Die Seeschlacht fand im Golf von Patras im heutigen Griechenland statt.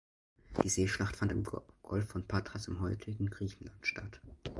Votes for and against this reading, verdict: 1, 2, rejected